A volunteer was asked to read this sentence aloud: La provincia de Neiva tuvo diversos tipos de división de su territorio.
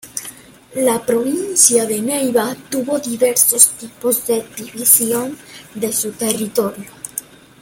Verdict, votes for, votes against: accepted, 3, 0